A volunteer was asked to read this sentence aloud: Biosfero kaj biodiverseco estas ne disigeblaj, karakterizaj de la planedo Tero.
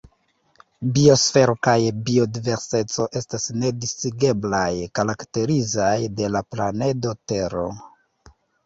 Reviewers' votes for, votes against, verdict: 2, 0, accepted